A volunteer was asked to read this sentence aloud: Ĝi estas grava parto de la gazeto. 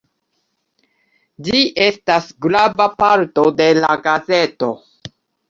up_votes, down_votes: 2, 0